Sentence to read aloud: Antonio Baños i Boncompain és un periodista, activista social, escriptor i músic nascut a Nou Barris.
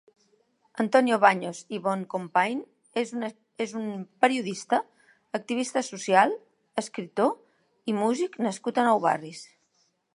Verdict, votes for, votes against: rejected, 0, 2